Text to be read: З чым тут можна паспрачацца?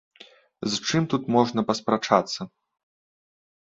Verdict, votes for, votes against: accepted, 2, 0